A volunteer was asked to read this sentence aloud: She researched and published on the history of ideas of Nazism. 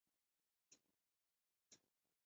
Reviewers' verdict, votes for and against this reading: rejected, 0, 2